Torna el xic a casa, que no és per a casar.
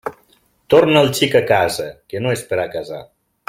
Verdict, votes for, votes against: accepted, 2, 0